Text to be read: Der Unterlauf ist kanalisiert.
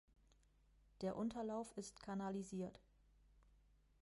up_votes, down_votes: 1, 2